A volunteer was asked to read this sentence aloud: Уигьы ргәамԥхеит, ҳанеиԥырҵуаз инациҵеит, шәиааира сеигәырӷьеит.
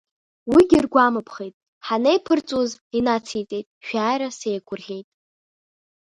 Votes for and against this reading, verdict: 1, 2, rejected